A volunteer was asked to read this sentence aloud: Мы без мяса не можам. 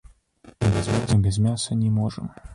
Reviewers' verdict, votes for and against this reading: rejected, 0, 4